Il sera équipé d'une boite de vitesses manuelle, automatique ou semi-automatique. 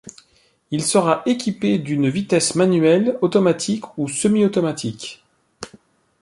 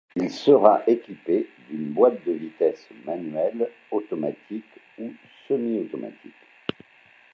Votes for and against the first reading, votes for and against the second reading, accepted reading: 1, 2, 2, 0, second